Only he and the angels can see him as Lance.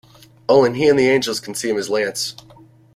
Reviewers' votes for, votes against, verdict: 0, 2, rejected